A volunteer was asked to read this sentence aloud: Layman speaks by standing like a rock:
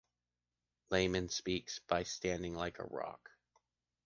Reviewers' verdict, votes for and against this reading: accepted, 2, 0